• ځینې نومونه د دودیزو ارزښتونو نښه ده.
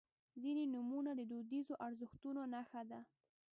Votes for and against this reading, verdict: 1, 2, rejected